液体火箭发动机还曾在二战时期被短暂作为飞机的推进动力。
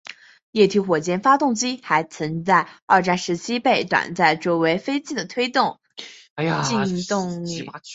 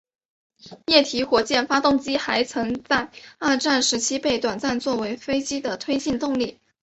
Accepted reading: second